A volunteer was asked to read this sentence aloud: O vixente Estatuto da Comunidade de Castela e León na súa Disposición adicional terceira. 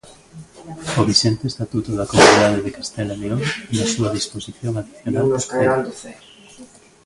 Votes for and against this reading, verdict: 0, 2, rejected